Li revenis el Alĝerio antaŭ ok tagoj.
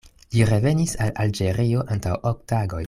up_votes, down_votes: 2, 0